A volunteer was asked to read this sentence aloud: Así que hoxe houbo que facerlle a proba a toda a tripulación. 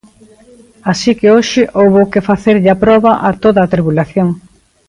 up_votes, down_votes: 0, 2